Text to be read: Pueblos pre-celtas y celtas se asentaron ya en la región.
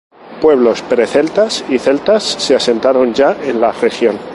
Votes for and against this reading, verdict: 2, 0, accepted